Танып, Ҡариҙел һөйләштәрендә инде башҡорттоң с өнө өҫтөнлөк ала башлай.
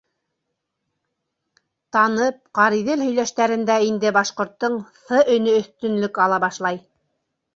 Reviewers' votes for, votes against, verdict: 0, 2, rejected